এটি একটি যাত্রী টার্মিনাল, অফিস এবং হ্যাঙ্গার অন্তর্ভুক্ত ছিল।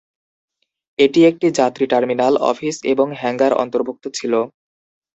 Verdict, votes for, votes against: accepted, 2, 0